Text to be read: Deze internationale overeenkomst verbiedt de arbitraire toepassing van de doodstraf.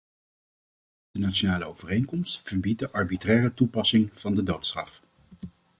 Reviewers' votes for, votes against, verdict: 0, 2, rejected